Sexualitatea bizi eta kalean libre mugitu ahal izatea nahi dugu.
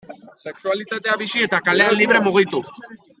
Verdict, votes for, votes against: rejected, 0, 2